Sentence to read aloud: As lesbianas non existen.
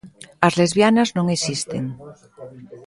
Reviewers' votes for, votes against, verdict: 2, 0, accepted